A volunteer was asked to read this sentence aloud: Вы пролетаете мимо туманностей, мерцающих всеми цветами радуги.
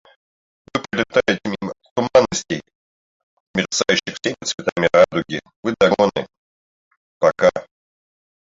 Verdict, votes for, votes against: rejected, 0, 2